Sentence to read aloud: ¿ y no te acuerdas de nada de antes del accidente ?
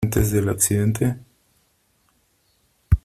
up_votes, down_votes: 0, 3